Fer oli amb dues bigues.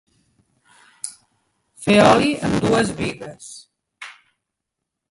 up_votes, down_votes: 0, 2